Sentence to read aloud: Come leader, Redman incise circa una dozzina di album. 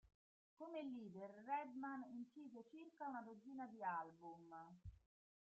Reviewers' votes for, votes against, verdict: 1, 2, rejected